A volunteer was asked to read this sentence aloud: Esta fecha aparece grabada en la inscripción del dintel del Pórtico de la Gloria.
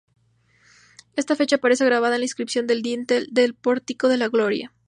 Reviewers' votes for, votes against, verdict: 2, 0, accepted